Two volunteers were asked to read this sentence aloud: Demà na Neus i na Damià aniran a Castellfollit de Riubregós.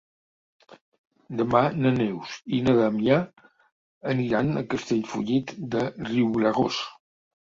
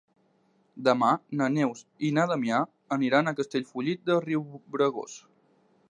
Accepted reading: second